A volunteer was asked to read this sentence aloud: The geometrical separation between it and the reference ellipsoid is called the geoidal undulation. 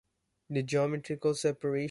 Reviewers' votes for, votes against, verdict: 0, 2, rejected